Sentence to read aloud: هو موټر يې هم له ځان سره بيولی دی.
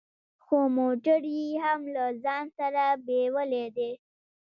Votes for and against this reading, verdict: 4, 0, accepted